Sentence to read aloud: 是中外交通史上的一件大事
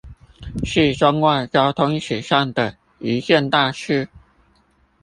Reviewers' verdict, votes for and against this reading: accepted, 2, 0